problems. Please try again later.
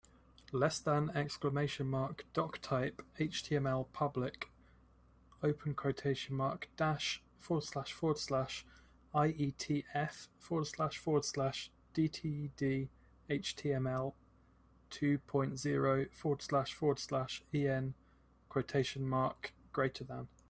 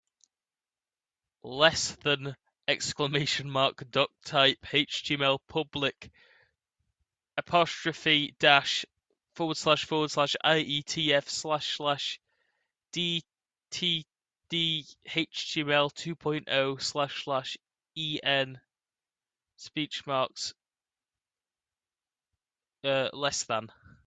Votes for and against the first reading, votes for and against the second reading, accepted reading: 2, 1, 1, 4, first